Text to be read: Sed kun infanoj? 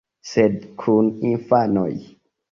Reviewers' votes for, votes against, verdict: 2, 0, accepted